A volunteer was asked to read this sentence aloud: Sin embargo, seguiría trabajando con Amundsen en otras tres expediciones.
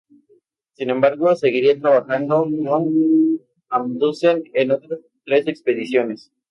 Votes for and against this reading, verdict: 0, 2, rejected